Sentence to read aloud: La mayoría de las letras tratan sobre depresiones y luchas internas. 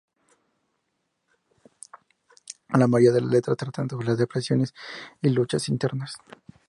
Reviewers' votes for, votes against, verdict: 0, 2, rejected